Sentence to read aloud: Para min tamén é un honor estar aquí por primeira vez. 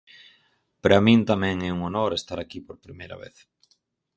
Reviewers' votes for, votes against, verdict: 4, 0, accepted